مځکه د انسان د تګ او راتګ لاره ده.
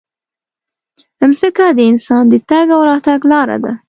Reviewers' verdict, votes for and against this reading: accepted, 2, 0